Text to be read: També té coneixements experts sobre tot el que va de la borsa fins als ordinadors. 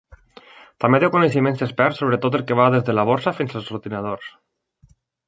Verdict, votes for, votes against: rejected, 1, 2